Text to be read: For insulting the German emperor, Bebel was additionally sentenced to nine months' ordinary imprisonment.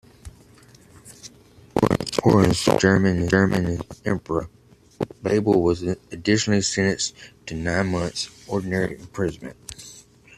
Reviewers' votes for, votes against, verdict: 0, 2, rejected